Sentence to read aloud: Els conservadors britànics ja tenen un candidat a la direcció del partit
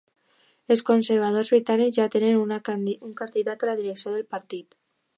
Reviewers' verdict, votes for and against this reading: rejected, 0, 2